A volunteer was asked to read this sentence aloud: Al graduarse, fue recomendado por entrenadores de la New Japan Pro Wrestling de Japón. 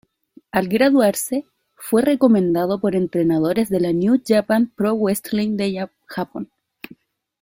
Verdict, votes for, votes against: rejected, 1, 2